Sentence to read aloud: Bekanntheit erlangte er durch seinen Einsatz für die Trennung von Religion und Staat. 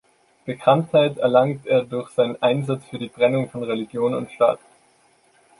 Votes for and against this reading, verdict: 1, 2, rejected